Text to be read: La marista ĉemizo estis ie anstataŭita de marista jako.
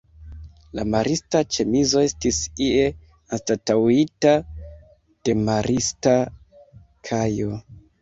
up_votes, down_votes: 0, 2